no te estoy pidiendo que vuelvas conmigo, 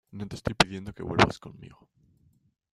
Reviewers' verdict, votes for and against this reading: rejected, 1, 2